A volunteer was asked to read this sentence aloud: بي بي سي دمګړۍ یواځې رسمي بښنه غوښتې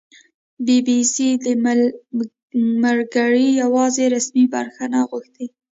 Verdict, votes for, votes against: rejected, 0, 2